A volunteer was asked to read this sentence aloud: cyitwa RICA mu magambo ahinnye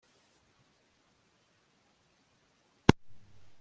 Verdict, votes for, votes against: rejected, 1, 2